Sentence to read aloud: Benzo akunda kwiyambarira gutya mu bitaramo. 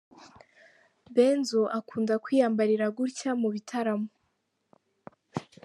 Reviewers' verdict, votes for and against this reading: rejected, 0, 2